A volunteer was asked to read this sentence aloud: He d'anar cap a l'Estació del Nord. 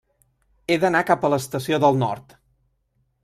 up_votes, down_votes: 3, 0